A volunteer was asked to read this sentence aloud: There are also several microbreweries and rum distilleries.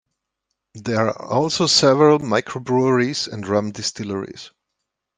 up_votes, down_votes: 2, 0